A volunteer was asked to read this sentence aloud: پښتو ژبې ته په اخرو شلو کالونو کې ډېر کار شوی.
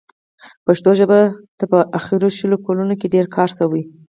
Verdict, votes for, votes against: accepted, 4, 0